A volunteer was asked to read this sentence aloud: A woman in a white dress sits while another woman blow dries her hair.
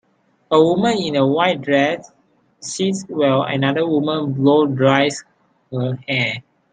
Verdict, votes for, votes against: accepted, 3, 1